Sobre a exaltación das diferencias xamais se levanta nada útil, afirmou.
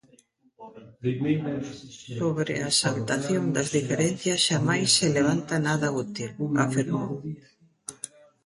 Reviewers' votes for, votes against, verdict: 0, 2, rejected